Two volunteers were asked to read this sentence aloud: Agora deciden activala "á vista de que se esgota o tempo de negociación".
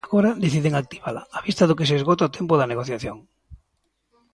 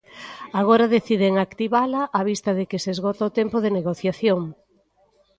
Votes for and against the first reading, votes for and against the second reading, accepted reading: 1, 2, 2, 1, second